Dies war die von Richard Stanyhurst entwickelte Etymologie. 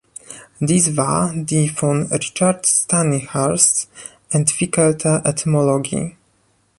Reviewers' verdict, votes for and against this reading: rejected, 1, 3